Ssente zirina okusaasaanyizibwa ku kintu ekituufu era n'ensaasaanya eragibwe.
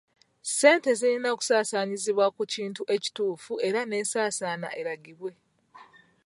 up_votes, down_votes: 0, 2